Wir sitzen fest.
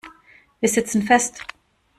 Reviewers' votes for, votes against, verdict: 2, 0, accepted